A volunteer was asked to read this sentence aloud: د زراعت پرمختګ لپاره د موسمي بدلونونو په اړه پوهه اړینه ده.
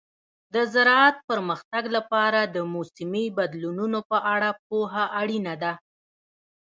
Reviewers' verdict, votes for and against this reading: rejected, 1, 2